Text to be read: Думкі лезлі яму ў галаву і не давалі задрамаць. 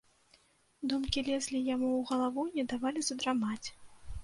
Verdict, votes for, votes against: rejected, 0, 2